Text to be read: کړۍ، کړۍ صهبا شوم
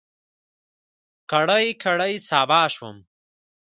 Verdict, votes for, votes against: accepted, 2, 0